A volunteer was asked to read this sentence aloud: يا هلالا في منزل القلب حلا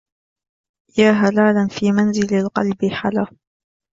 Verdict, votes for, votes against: accepted, 2, 0